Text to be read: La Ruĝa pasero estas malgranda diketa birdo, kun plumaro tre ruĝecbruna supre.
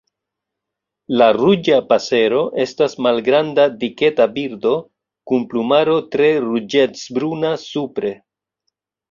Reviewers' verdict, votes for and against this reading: accepted, 2, 1